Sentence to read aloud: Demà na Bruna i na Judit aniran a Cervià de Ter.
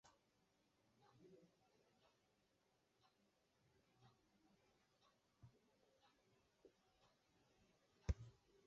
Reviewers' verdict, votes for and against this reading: rejected, 1, 2